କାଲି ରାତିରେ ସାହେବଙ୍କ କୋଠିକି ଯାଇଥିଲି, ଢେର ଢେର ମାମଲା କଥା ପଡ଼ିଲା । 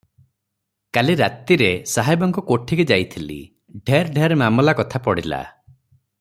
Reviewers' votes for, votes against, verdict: 3, 0, accepted